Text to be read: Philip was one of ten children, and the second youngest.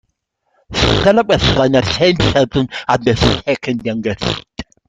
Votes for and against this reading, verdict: 0, 2, rejected